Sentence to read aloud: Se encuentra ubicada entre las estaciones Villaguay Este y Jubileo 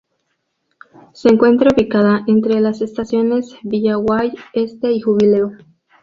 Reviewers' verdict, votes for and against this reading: accepted, 2, 0